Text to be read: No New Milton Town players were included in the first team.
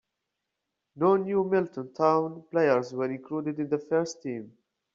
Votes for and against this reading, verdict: 2, 0, accepted